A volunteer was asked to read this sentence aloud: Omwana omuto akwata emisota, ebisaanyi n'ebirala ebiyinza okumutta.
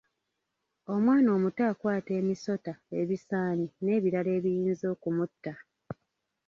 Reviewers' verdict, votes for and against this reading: rejected, 1, 2